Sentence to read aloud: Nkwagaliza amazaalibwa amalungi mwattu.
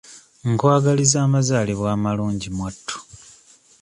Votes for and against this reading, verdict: 2, 0, accepted